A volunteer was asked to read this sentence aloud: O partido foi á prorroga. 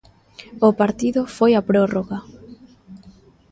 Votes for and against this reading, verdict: 2, 1, accepted